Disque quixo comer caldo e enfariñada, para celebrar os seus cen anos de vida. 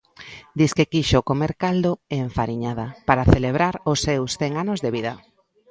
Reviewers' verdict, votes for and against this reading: accepted, 2, 0